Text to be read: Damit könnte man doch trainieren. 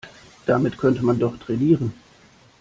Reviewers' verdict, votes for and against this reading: accepted, 2, 0